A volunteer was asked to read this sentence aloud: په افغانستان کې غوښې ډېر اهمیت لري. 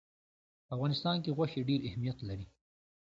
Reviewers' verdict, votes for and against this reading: accepted, 2, 0